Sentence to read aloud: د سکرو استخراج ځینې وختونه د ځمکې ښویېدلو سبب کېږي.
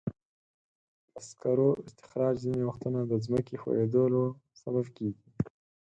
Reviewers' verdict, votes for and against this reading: rejected, 2, 4